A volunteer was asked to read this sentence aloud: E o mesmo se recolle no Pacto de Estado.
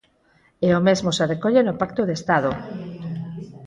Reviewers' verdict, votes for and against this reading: accepted, 4, 0